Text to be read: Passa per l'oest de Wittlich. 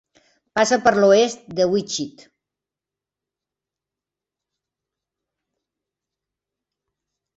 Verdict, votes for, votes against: rejected, 1, 2